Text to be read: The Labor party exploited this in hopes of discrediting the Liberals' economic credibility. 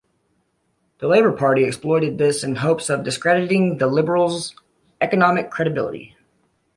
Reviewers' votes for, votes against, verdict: 2, 1, accepted